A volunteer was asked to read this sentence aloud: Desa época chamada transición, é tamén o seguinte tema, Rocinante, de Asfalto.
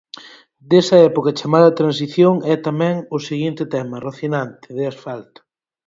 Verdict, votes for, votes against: accepted, 4, 0